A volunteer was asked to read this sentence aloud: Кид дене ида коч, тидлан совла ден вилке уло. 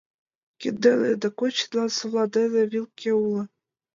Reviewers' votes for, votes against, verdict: 0, 2, rejected